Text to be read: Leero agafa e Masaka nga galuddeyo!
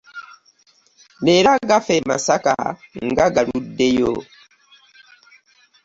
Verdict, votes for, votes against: accepted, 2, 0